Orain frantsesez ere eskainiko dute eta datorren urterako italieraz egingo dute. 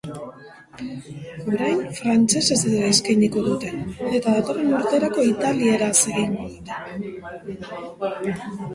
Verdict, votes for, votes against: rejected, 1, 2